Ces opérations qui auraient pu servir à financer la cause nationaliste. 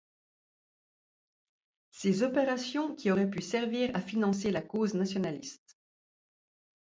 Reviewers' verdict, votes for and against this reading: accepted, 2, 0